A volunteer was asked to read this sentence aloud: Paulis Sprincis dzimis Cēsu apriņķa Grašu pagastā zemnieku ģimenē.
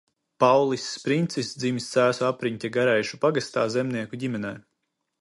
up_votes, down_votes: 0, 2